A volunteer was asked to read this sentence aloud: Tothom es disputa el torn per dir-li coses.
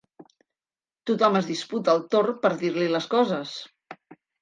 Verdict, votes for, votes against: rejected, 0, 2